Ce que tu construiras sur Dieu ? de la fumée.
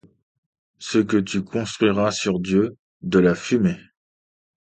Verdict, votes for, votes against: accepted, 2, 0